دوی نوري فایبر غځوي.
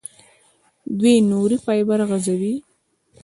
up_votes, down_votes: 2, 1